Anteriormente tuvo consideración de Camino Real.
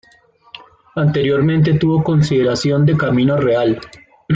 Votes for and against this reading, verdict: 2, 1, accepted